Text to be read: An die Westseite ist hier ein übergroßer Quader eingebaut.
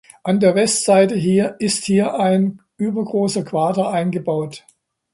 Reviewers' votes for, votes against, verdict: 0, 2, rejected